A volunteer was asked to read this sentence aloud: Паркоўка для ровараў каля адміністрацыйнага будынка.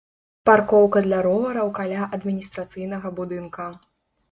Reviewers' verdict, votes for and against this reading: accepted, 2, 0